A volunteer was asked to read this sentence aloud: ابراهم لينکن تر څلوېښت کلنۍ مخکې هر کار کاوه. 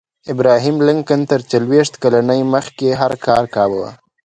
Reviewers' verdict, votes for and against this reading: accepted, 2, 0